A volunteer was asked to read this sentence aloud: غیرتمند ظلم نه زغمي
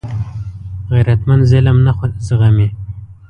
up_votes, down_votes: 1, 2